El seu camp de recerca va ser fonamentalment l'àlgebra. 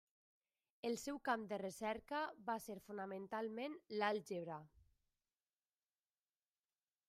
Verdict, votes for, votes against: accepted, 3, 1